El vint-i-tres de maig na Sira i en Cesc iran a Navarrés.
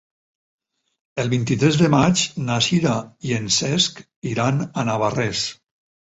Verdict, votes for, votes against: accepted, 4, 0